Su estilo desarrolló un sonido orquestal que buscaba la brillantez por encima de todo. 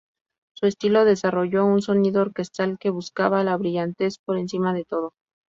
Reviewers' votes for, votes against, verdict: 2, 0, accepted